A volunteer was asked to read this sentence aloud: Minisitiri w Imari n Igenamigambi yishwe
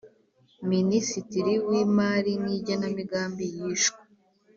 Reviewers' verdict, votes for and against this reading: accepted, 2, 0